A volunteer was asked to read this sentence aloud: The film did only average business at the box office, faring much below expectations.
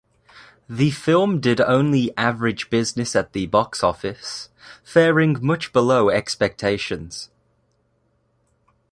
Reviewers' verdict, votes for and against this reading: accepted, 2, 0